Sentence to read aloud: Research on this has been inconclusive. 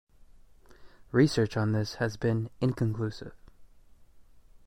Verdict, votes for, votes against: accepted, 2, 0